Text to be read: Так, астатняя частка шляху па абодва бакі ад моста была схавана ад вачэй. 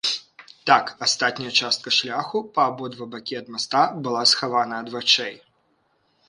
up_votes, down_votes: 1, 2